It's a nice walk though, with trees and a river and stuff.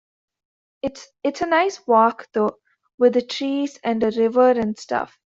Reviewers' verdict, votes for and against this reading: rejected, 1, 2